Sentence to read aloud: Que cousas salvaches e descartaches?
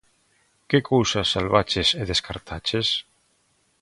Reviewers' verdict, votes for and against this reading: accepted, 2, 0